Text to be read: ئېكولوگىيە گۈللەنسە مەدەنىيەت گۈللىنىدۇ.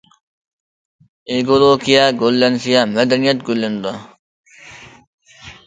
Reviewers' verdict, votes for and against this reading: rejected, 1, 2